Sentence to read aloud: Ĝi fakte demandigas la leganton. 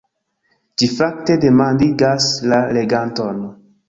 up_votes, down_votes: 2, 0